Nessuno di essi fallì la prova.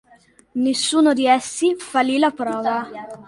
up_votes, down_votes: 2, 0